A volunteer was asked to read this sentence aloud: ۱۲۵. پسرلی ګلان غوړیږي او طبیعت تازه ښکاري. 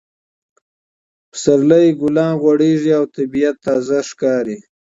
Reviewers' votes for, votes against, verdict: 0, 2, rejected